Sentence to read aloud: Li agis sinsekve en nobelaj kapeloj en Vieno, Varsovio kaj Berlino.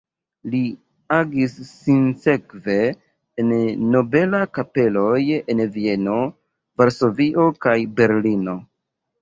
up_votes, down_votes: 0, 2